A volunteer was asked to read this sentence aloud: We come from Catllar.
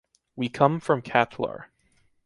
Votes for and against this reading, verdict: 2, 0, accepted